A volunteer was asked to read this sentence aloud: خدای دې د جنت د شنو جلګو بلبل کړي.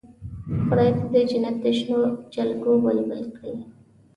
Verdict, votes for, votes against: accepted, 2, 0